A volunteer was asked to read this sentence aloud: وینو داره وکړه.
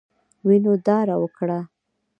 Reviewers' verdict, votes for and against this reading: accepted, 2, 0